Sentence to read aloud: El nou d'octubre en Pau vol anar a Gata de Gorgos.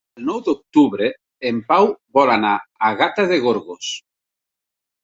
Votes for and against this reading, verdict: 3, 0, accepted